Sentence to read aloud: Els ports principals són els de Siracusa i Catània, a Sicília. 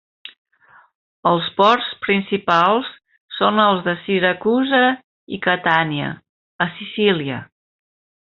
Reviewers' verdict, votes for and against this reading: accepted, 3, 1